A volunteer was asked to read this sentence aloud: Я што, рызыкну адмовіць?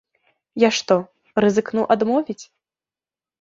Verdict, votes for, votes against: accepted, 2, 0